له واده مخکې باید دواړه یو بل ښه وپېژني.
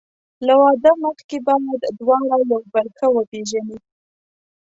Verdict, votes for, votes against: rejected, 1, 2